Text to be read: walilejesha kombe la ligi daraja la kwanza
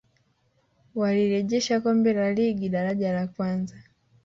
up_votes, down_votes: 4, 0